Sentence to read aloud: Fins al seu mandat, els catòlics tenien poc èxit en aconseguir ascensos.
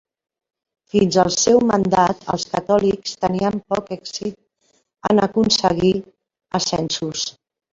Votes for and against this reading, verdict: 0, 2, rejected